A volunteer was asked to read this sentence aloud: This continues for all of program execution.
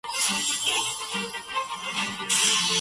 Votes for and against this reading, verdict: 0, 2, rejected